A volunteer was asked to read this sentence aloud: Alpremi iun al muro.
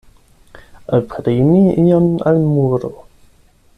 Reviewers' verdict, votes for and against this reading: rejected, 4, 8